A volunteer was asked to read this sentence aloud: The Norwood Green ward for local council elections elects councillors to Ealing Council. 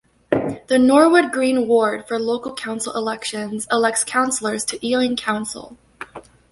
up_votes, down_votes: 2, 0